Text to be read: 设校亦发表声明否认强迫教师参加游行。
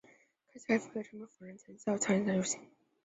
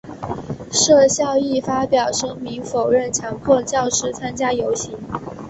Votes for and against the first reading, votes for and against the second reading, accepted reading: 0, 2, 3, 0, second